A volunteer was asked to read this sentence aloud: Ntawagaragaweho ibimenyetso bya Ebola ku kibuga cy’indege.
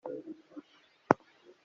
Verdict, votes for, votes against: rejected, 0, 2